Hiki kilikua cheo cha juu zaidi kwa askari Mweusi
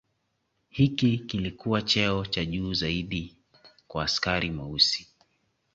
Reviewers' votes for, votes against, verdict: 2, 0, accepted